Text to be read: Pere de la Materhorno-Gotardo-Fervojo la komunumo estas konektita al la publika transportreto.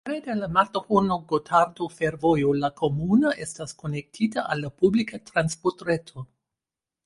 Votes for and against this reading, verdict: 0, 2, rejected